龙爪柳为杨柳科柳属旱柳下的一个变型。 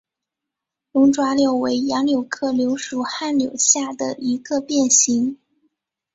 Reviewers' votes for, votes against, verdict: 3, 1, accepted